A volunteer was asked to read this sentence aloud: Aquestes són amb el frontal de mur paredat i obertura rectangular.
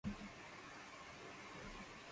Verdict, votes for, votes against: rejected, 0, 2